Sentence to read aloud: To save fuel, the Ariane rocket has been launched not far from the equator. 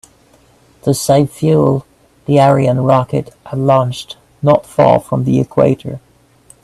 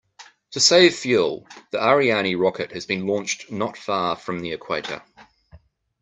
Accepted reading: second